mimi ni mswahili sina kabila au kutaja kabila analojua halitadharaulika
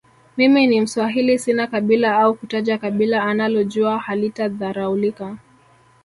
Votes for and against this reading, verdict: 4, 0, accepted